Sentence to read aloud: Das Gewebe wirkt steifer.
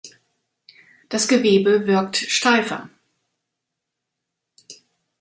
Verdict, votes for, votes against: accepted, 2, 0